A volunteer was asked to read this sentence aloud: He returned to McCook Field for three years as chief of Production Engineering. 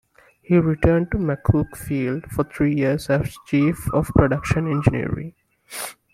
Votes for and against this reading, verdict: 2, 0, accepted